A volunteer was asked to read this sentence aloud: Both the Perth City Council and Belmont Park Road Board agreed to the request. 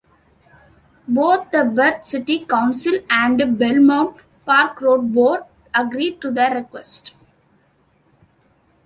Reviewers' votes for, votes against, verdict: 0, 2, rejected